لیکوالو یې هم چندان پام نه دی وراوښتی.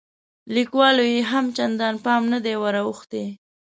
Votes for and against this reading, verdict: 5, 0, accepted